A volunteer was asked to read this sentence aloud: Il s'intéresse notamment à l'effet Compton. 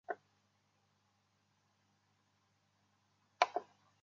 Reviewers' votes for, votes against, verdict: 0, 2, rejected